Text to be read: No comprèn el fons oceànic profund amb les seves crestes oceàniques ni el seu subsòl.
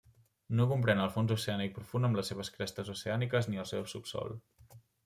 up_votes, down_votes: 2, 0